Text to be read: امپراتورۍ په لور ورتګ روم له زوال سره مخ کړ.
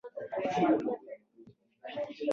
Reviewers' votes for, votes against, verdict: 1, 2, rejected